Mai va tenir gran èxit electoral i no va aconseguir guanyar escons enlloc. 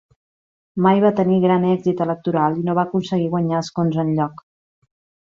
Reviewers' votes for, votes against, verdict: 2, 0, accepted